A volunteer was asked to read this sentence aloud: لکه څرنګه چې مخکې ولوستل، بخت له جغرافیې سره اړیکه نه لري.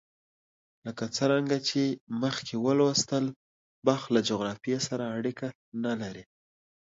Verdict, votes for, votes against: accepted, 2, 0